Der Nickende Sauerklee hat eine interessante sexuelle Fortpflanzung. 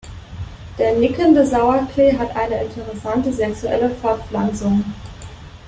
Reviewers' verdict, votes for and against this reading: accepted, 3, 0